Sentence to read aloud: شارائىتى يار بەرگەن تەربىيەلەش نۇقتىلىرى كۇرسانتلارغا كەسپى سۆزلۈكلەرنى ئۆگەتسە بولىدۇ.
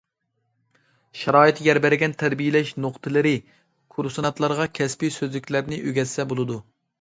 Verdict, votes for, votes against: rejected, 1, 2